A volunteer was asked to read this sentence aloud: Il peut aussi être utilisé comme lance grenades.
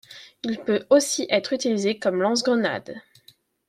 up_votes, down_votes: 2, 0